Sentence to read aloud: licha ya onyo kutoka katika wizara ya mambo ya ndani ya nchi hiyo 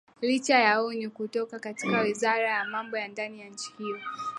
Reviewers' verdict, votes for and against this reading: accepted, 4, 2